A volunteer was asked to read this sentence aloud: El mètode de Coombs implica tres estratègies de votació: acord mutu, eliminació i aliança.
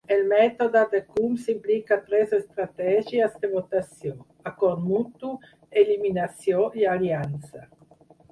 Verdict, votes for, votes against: accepted, 4, 0